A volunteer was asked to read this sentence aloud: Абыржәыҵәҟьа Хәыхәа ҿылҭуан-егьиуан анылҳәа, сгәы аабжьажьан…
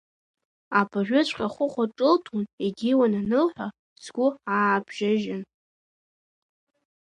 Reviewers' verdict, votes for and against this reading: accepted, 2, 0